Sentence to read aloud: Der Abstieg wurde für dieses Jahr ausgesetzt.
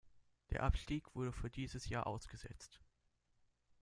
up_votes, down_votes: 2, 0